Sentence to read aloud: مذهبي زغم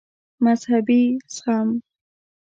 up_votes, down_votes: 2, 0